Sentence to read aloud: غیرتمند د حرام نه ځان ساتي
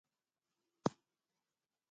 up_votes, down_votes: 1, 2